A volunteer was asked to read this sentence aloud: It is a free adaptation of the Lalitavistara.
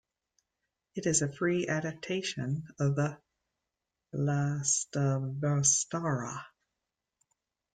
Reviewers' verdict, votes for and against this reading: rejected, 0, 2